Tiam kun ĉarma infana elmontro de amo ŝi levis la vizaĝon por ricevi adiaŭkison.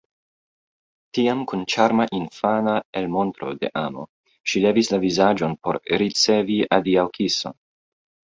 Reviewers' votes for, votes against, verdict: 2, 0, accepted